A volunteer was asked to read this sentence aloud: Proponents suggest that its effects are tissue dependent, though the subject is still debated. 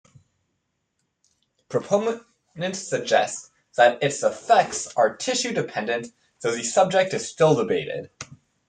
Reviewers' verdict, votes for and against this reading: rejected, 1, 2